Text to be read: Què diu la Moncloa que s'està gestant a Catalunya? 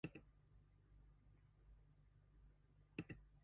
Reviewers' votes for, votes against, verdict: 0, 2, rejected